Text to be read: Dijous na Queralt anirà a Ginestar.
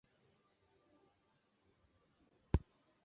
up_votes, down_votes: 0, 2